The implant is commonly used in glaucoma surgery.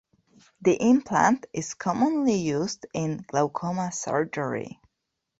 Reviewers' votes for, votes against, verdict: 2, 0, accepted